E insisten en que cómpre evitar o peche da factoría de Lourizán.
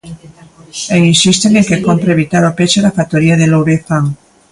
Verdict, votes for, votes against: rejected, 1, 2